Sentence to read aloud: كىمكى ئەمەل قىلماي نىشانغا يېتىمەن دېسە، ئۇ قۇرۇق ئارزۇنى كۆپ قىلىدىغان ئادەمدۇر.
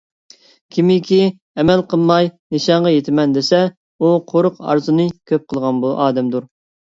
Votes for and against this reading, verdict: 0, 2, rejected